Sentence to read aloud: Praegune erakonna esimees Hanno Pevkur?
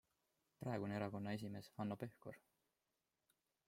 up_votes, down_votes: 2, 0